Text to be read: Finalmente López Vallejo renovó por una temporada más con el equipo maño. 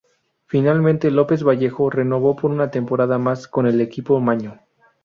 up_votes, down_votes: 2, 2